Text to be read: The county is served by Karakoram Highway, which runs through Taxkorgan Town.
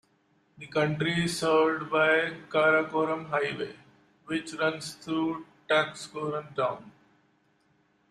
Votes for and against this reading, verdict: 0, 2, rejected